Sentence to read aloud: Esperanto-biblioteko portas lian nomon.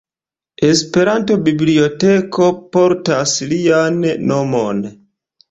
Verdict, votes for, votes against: accepted, 2, 1